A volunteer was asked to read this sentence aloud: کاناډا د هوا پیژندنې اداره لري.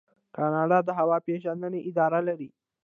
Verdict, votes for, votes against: rejected, 0, 2